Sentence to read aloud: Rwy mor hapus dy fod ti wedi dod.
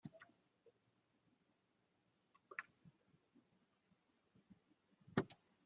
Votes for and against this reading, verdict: 0, 2, rejected